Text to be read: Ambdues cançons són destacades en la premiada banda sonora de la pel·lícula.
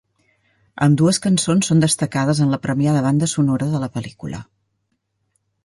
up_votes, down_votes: 2, 0